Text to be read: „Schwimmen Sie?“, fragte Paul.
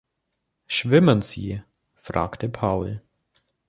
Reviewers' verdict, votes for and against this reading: accepted, 2, 0